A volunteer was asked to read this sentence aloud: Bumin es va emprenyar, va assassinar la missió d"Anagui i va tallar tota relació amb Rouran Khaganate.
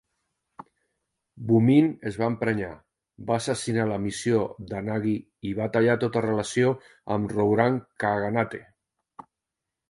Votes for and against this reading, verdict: 2, 0, accepted